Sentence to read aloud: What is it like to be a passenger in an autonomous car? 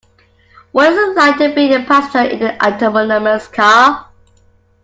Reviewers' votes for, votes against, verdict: 0, 2, rejected